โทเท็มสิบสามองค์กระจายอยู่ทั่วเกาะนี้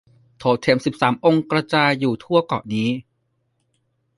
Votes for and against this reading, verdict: 1, 2, rejected